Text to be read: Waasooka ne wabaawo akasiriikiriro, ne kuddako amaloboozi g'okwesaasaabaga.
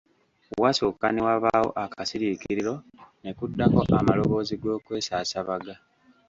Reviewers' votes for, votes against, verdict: 1, 2, rejected